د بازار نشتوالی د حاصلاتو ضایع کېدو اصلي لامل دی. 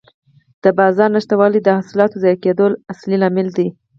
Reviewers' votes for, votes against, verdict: 2, 4, rejected